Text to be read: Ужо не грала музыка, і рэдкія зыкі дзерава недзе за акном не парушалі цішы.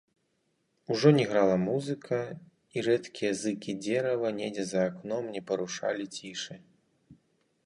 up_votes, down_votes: 2, 0